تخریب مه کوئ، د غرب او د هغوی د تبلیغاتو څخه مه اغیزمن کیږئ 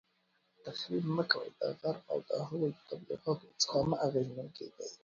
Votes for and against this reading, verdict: 1, 2, rejected